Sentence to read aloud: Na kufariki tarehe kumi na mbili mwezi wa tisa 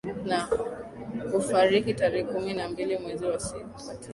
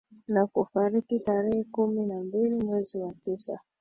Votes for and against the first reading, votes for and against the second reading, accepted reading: 1, 2, 2, 0, second